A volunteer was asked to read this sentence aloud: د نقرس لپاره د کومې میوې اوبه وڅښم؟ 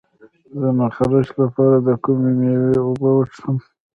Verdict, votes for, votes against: accepted, 2, 1